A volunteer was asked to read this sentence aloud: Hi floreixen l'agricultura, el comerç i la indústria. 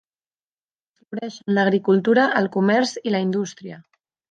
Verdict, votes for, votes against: rejected, 0, 2